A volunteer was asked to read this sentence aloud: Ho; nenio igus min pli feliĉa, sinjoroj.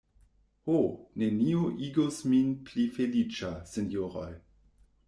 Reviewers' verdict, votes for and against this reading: rejected, 1, 2